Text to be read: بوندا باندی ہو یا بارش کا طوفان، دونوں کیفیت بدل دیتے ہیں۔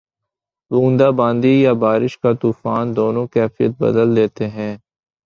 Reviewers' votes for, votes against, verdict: 0, 2, rejected